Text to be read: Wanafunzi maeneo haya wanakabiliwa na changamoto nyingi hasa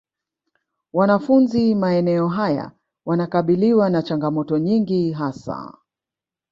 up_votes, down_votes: 0, 2